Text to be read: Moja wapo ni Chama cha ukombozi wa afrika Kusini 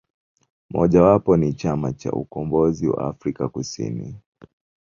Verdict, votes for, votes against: rejected, 0, 2